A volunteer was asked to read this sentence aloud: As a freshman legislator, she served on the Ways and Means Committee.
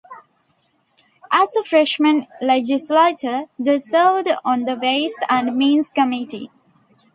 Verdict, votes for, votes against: rejected, 1, 2